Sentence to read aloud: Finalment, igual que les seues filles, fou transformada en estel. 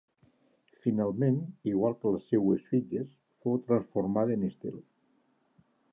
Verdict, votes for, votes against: rejected, 1, 2